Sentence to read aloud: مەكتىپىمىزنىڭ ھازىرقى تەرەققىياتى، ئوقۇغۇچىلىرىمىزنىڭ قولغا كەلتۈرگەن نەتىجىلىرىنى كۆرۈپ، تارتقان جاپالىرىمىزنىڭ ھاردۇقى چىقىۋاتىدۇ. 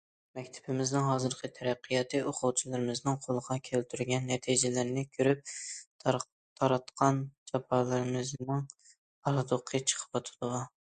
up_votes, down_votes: 0, 2